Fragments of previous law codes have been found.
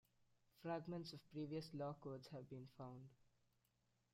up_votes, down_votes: 0, 2